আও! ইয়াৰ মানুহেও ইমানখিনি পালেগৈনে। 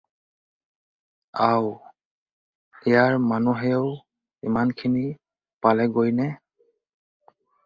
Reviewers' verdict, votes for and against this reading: rejected, 0, 2